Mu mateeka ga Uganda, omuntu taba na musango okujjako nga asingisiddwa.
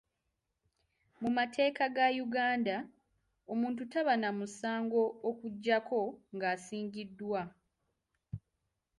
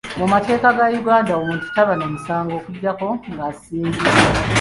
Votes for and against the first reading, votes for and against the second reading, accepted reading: 2, 0, 1, 2, first